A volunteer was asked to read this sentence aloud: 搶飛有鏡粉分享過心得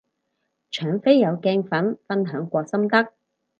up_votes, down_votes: 4, 0